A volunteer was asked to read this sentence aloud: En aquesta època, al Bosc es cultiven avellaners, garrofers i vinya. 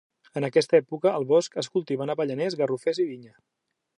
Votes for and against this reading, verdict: 2, 0, accepted